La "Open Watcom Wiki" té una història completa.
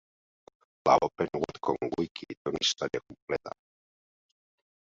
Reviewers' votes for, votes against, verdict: 0, 2, rejected